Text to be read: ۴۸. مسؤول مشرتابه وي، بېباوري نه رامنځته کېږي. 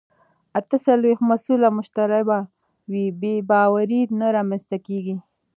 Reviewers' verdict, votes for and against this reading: rejected, 0, 2